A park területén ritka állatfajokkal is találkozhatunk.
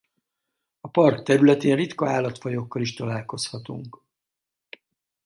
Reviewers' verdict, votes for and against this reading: accepted, 2, 0